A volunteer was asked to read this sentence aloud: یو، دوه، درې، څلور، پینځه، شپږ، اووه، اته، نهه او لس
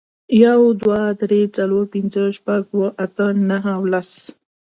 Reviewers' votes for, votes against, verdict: 1, 2, rejected